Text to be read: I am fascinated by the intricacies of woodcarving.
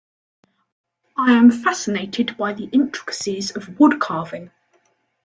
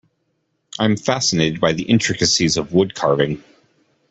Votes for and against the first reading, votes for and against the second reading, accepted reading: 2, 0, 0, 2, first